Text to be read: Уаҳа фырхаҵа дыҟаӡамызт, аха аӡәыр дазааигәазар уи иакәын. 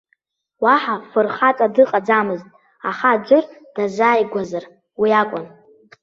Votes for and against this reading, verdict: 2, 0, accepted